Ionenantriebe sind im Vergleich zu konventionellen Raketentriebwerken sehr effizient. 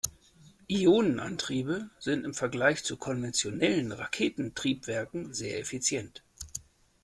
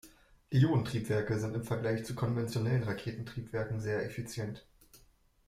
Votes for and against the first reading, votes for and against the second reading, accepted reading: 2, 0, 0, 2, first